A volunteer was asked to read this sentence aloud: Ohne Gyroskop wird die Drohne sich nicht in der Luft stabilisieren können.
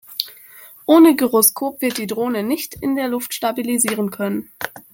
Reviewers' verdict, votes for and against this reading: rejected, 0, 2